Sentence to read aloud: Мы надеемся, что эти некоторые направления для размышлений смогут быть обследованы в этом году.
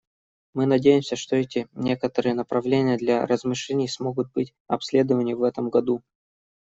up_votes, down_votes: 1, 2